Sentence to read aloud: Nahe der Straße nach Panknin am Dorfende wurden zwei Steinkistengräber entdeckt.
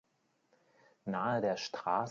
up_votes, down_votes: 0, 3